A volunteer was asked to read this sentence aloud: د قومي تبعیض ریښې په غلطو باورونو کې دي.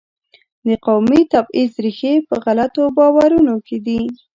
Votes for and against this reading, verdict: 2, 0, accepted